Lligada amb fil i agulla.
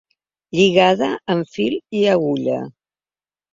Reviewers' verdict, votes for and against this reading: accepted, 2, 0